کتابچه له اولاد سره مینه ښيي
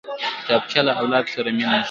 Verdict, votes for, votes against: rejected, 1, 2